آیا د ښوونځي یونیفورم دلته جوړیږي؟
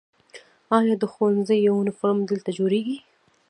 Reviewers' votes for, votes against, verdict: 0, 2, rejected